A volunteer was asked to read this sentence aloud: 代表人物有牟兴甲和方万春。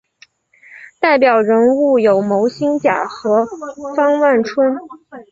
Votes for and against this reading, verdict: 2, 0, accepted